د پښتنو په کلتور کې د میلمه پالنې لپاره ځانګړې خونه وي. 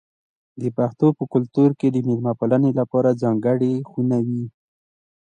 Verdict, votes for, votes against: accepted, 2, 0